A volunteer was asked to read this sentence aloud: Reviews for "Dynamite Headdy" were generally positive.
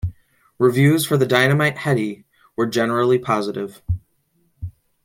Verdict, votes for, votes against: rejected, 0, 2